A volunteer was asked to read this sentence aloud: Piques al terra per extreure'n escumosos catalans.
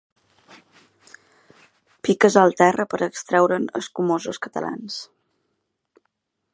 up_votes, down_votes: 3, 0